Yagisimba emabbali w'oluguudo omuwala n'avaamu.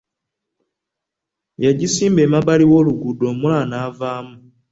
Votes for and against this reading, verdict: 2, 0, accepted